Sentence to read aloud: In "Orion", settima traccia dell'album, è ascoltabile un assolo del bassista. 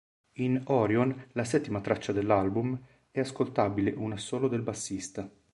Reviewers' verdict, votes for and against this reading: rejected, 0, 2